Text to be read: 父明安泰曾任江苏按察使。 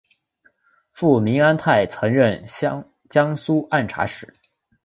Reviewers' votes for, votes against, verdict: 4, 0, accepted